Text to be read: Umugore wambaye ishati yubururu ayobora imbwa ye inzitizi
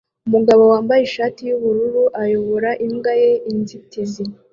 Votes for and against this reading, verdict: 2, 0, accepted